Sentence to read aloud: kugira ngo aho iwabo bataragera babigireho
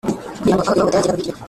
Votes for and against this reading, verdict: 0, 3, rejected